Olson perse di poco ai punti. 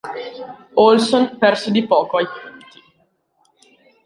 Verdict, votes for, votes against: accepted, 2, 0